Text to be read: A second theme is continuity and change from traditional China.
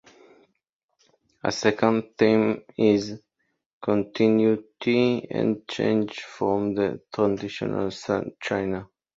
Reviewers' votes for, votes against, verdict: 1, 2, rejected